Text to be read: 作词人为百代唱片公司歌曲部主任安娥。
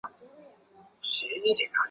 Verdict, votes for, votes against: rejected, 0, 2